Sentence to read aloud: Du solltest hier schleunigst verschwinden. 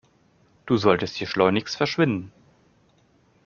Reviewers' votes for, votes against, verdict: 2, 0, accepted